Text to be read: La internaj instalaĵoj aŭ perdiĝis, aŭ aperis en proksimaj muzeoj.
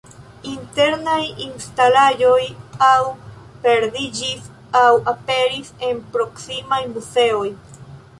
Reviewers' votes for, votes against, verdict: 1, 2, rejected